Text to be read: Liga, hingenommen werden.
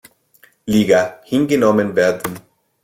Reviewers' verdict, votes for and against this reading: accepted, 2, 1